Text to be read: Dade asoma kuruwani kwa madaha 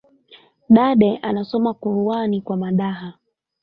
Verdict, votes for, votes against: accepted, 3, 1